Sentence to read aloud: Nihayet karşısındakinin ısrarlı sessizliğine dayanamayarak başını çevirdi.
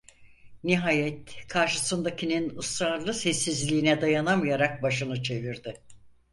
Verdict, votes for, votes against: accepted, 4, 0